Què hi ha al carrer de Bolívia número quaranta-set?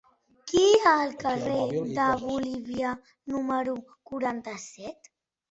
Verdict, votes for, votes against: rejected, 1, 2